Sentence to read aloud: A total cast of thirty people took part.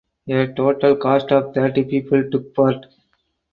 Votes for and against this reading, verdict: 4, 2, accepted